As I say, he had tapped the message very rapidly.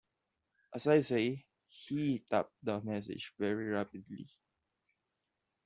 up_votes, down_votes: 0, 2